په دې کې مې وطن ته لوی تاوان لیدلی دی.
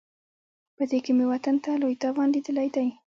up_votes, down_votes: 2, 0